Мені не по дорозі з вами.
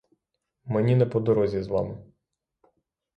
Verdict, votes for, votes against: accepted, 6, 0